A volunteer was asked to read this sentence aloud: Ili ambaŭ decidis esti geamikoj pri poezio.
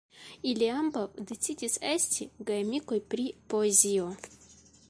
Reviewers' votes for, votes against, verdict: 2, 1, accepted